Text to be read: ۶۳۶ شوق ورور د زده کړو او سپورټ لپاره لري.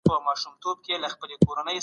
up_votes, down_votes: 0, 2